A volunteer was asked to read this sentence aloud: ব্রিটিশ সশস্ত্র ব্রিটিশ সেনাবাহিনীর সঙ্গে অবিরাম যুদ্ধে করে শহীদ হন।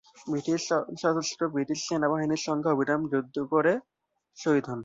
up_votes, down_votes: 0, 5